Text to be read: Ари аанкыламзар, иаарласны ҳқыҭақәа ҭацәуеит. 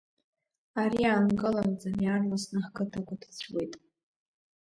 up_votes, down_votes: 1, 2